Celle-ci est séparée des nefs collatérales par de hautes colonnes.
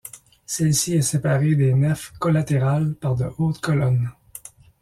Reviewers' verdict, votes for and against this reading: accepted, 2, 0